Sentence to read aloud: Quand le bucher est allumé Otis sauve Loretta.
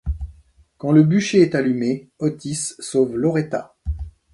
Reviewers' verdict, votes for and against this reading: accepted, 2, 0